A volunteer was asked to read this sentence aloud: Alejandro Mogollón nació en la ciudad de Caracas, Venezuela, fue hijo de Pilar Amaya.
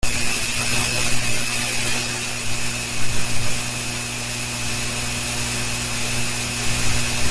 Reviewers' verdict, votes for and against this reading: rejected, 0, 2